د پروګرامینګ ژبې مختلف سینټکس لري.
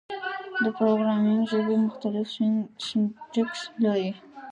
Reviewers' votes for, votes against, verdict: 1, 2, rejected